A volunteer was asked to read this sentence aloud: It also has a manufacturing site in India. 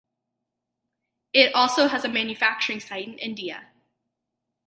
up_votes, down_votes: 2, 0